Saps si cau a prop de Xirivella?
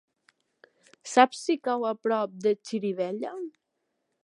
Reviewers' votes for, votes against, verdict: 3, 0, accepted